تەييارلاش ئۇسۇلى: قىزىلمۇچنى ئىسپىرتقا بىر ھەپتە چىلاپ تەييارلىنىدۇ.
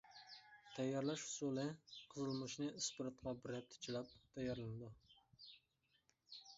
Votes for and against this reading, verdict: 1, 2, rejected